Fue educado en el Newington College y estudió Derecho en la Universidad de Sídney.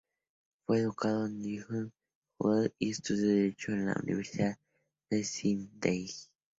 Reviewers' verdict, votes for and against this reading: rejected, 0, 2